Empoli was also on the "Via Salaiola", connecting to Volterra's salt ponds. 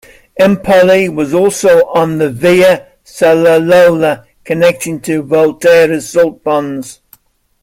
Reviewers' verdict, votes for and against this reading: rejected, 0, 2